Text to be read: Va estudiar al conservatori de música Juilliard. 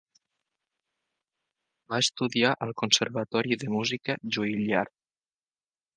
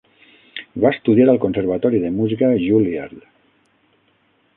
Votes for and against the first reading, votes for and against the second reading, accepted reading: 2, 0, 3, 6, first